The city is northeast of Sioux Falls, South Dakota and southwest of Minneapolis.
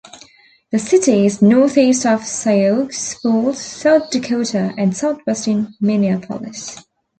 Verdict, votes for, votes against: rejected, 0, 3